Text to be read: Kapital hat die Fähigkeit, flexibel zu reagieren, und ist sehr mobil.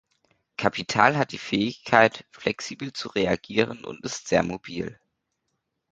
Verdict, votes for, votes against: accepted, 2, 0